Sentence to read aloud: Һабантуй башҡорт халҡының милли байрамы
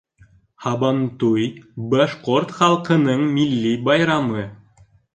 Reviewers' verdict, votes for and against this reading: accepted, 2, 1